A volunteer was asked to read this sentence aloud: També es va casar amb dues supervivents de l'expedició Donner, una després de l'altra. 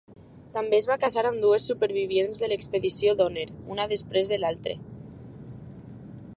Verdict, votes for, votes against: rejected, 1, 2